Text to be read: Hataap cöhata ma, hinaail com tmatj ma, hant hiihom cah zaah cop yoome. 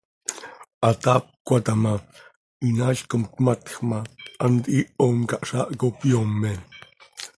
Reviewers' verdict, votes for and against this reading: accepted, 2, 0